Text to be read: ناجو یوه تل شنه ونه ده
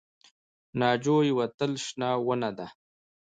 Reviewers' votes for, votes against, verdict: 2, 1, accepted